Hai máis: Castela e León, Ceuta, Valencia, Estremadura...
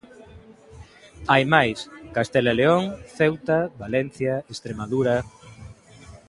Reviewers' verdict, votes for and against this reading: accepted, 2, 0